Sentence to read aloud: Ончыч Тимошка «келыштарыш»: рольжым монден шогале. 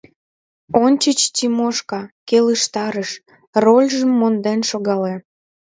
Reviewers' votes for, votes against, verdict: 2, 0, accepted